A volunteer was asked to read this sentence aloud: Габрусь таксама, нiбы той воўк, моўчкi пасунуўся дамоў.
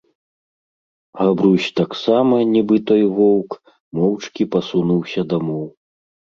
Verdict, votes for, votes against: accepted, 2, 0